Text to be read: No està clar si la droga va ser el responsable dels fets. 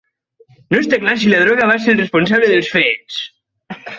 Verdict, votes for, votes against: accepted, 4, 0